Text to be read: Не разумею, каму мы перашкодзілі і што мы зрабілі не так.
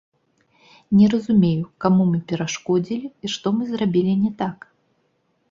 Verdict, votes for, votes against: rejected, 1, 2